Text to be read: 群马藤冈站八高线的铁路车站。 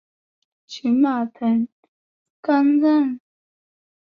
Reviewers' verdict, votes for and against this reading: rejected, 1, 4